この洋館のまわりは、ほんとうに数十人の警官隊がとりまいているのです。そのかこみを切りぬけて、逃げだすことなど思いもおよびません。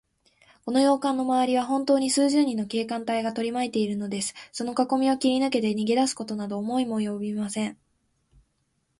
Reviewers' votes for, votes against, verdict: 2, 0, accepted